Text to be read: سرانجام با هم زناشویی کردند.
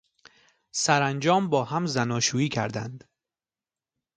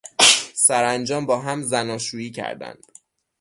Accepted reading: first